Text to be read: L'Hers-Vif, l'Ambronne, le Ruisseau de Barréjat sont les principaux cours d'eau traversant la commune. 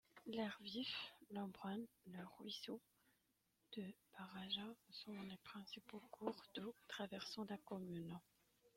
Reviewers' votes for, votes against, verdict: 0, 2, rejected